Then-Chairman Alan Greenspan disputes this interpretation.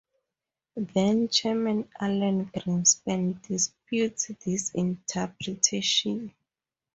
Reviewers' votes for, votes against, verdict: 2, 0, accepted